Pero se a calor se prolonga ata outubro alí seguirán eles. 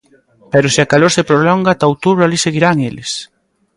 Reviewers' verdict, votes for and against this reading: accepted, 2, 0